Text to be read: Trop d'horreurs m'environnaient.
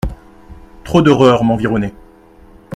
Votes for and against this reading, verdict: 2, 0, accepted